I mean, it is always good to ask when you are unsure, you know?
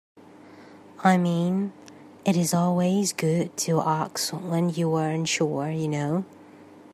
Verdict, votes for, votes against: accepted, 3, 1